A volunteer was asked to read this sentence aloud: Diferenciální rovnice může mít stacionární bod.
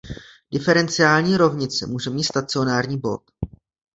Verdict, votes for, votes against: accepted, 2, 0